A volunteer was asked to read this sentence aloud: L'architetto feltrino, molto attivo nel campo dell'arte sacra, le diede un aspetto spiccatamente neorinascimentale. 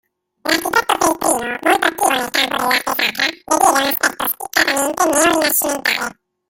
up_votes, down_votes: 0, 2